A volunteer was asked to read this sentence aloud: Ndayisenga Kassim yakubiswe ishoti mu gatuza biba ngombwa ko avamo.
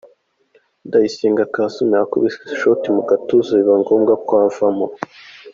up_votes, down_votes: 4, 1